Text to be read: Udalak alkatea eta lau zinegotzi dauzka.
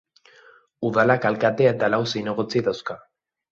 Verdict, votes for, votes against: accepted, 2, 0